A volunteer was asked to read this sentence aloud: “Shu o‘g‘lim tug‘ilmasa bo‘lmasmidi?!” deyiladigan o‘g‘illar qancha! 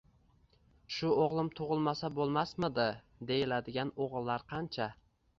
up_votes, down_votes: 2, 0